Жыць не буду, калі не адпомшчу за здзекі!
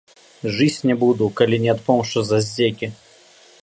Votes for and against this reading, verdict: 2, 0, accepted